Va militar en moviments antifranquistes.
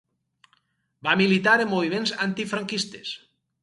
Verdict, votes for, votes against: accepted, 4, 0